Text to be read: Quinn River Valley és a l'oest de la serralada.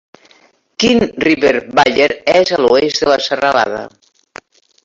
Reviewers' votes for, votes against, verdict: 1, 2, rejected